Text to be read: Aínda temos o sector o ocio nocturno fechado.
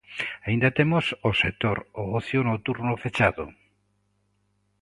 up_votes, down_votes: 2, 0